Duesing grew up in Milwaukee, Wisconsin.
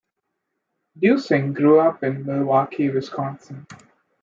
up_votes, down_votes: 1, 2